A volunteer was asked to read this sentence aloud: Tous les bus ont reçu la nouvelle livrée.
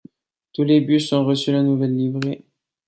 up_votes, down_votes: 2, 0